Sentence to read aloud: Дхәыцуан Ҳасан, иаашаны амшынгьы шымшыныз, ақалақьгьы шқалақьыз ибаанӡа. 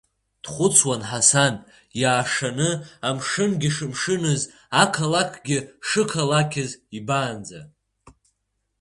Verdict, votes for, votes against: accepted, 2, 0